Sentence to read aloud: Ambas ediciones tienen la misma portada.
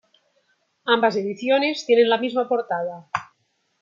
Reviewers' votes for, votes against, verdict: 2, 0, accepted